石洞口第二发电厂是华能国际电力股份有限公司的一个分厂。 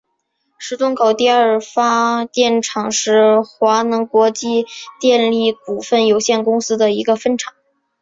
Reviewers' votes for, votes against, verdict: 4, 0, accepted